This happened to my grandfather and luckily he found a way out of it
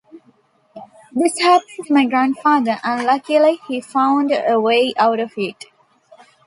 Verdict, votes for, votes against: accepted, 2, 0